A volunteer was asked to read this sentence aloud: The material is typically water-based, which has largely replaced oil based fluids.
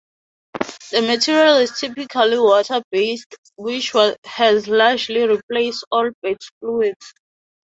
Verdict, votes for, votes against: rejected, 0, 4